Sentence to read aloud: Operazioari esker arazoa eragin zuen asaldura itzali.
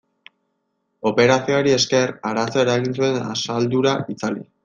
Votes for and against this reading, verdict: 0, 2, rejected